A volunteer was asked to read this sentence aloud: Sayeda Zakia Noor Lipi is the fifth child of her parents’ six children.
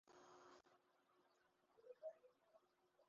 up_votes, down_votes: 0, 4